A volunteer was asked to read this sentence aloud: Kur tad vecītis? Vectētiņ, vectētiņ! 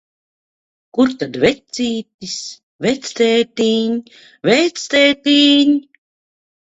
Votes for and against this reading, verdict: 2, 0, accepted